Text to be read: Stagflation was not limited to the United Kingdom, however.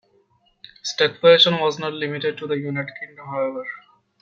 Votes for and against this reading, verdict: 1, 2, rejected